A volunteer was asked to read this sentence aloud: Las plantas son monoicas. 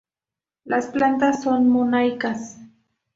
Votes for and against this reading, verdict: 2, 0, accepted